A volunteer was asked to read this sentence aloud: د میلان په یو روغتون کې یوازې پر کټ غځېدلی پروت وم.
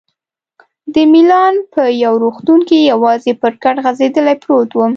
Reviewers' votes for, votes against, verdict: 2, 0, accepted